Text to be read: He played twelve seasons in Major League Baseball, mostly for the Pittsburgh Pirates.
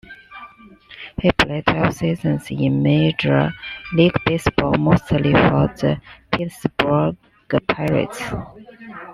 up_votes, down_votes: 2, 0